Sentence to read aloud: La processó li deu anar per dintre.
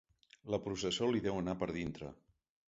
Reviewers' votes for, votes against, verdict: 1, 2, rejected